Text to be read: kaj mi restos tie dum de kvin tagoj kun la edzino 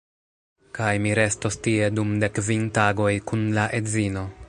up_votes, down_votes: 1, 2